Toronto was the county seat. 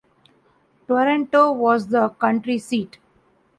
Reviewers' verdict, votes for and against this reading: rejected, 0, 2